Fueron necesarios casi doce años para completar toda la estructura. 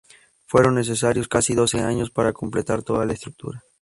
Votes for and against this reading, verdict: 2, 0, accepted